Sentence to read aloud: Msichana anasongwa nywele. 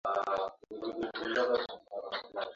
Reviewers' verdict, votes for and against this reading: rejected, 0, 2